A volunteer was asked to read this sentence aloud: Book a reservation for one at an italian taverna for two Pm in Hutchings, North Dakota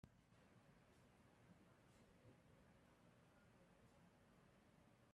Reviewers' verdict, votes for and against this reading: rejected, 0, 2